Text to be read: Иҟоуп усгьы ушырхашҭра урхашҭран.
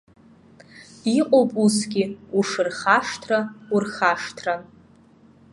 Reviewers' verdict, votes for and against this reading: accepted, 2, 0